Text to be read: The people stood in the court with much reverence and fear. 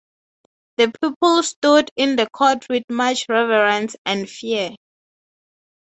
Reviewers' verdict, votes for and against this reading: accepted, 6, 0